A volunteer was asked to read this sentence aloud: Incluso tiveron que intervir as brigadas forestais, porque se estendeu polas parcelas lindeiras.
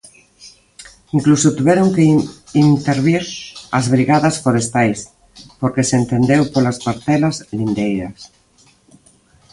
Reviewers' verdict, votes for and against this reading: rejected, 1, 2